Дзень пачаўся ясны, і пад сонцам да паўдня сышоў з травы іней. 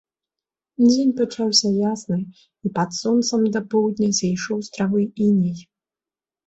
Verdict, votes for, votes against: rejected, 1, 2